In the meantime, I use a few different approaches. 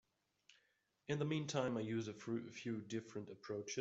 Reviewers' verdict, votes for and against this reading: rejected, 0, 2